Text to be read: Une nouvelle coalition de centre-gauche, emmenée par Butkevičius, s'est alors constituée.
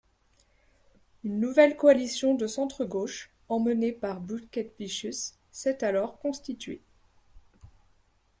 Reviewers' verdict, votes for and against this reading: accepted, 2, 0